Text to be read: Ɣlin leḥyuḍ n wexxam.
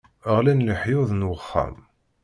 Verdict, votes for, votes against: accepted, 2, 0